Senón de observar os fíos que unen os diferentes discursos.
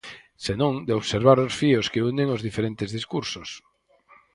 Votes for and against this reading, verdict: 4, 0, accepted